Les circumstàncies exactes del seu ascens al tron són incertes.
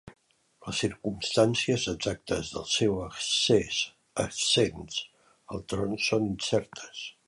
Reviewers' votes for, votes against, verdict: 0, 2, rejected